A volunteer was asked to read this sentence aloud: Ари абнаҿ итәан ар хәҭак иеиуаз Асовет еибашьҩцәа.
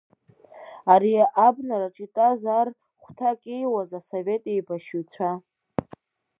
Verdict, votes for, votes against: rejected, 0, 2